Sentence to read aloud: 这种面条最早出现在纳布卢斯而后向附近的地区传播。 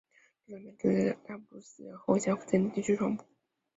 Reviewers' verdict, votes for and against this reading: rejected, 1, 3